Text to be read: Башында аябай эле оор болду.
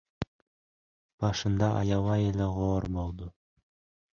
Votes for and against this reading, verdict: 1, 2, rejected